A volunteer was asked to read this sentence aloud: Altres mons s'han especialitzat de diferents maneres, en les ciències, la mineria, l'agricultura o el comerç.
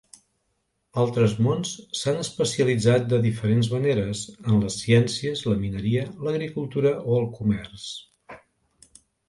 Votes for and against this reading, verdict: 2, 0, accepted